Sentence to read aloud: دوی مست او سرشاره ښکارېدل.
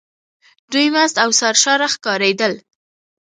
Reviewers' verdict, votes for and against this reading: accepted, 2, 0